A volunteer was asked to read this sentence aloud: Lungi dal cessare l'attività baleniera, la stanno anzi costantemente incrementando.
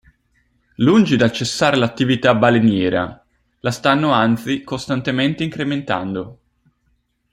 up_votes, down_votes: 2, 0